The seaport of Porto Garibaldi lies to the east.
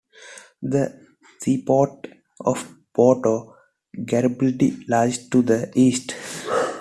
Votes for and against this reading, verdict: 2, 0, accepted